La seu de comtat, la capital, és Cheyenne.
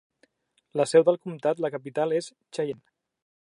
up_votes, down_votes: 2, 0